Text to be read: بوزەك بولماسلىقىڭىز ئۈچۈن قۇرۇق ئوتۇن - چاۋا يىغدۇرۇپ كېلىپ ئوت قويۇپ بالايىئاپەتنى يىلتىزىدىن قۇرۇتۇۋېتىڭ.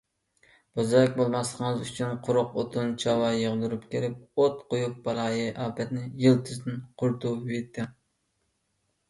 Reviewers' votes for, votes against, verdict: 2, 1, accepted